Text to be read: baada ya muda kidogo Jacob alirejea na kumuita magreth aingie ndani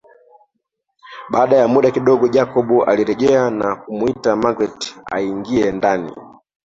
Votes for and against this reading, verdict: 2, 1, accepted